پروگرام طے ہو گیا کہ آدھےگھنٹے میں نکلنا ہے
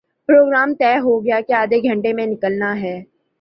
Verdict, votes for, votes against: accepted, 4, 0